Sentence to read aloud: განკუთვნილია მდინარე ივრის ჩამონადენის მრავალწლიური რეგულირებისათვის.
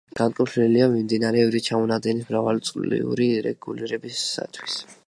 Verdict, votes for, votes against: rejected, 1, 2